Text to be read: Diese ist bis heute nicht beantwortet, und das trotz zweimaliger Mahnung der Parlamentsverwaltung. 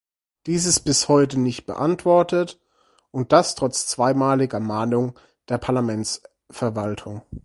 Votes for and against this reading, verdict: 0, 4, rejected